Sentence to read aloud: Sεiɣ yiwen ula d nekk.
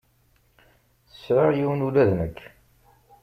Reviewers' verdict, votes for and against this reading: accepted, 2, 0